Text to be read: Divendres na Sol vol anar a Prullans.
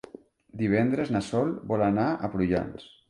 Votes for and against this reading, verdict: 3, 0, accepted